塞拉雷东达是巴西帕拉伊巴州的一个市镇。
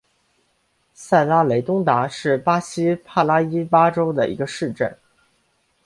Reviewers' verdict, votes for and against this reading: accepted, 6, 0